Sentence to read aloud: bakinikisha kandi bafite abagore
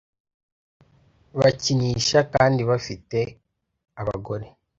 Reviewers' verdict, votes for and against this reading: rejected, 0, 2